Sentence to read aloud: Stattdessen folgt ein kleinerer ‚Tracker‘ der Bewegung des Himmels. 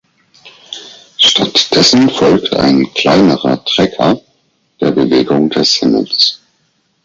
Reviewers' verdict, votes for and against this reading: accepted, 4, 0